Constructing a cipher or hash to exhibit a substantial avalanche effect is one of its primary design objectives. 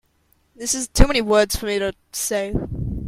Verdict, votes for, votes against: rejected, 0, 2